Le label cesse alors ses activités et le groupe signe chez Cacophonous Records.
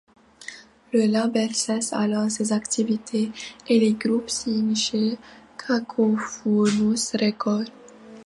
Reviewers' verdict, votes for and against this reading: accepted, 2, 1